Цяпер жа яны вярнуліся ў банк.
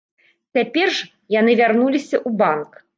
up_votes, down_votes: 0, 2